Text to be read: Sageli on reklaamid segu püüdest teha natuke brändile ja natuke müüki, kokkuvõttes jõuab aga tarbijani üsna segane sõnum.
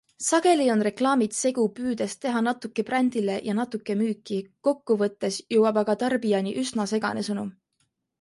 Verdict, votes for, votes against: accepted, 2, 0